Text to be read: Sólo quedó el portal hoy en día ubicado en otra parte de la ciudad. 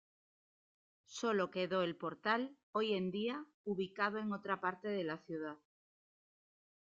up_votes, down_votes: 3, 2